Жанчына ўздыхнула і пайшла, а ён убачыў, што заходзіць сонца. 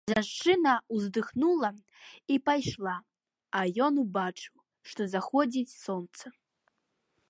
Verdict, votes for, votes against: accepted, 2, 0